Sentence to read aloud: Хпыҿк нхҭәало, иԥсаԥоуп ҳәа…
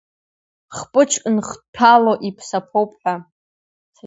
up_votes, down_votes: 1, 2